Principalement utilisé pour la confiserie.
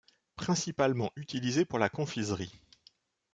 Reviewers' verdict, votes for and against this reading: accepted, 2, 0